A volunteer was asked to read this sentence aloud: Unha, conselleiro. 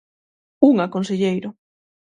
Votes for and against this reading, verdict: 6, 0, accepted